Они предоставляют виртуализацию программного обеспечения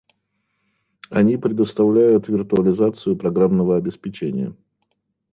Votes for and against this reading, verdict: 2, 0, accepted